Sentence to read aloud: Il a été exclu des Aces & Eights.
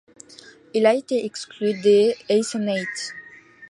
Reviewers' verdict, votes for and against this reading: accepted, 2, 0